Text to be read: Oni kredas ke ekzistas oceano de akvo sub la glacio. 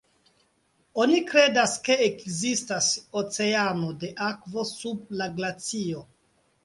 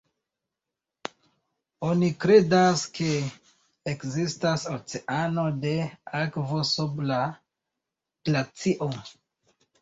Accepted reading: second